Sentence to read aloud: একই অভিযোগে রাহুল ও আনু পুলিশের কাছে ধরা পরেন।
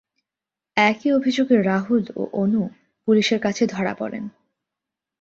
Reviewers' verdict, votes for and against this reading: rejected, 0, 2